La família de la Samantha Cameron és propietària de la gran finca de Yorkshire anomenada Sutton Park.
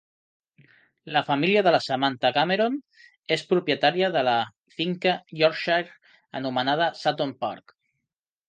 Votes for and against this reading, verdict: 0, 2, rejected